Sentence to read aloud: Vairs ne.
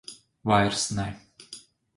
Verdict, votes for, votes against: accepted, 3, 0